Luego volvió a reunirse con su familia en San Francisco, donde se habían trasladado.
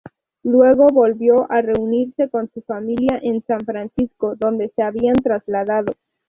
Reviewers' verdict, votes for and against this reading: accepted, 2, 0